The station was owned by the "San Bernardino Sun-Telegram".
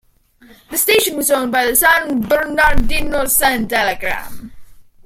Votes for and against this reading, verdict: 2, 0, accepted